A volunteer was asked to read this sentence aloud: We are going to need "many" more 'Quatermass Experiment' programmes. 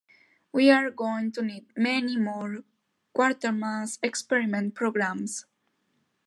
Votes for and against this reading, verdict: 2, 0, accepted